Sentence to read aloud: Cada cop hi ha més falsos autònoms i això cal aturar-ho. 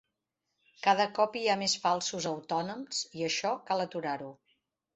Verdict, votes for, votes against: accepted, 4, 0